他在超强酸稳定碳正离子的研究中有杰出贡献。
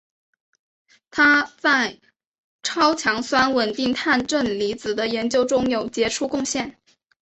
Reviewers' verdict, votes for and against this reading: accepted, 2, 0